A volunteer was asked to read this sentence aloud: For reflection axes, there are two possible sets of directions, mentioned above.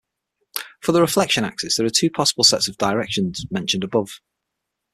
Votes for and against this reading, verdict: 0, 6, rejected